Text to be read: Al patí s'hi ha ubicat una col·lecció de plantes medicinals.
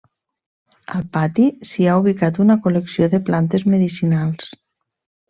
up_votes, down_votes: 1, 2